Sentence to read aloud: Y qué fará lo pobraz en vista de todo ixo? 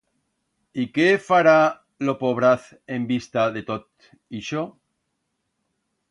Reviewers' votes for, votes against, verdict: 1, 2, rejected